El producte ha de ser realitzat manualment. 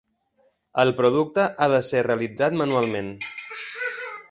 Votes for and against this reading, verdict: 3, 0, accepted